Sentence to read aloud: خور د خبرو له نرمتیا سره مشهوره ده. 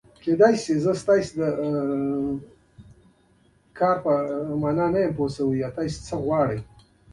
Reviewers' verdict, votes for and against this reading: rejected, 0, 2